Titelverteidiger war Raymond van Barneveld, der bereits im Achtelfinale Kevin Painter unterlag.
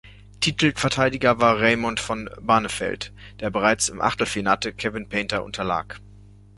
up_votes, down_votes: 0, 2